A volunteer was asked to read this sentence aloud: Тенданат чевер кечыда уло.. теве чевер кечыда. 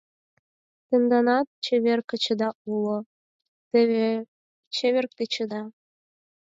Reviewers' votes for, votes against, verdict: 2, 4, rejected